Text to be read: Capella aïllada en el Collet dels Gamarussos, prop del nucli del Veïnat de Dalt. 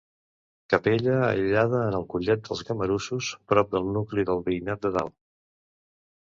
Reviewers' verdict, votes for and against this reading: accepted, 2, 0